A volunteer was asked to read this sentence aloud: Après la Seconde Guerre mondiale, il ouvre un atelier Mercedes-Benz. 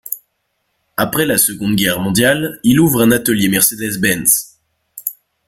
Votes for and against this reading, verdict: 1, 2, rejected